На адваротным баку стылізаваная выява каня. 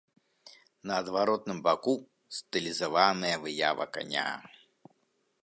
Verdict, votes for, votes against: accepted, 2, 0